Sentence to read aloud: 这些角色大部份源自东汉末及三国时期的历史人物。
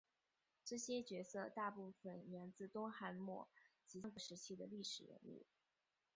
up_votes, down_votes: 1, 3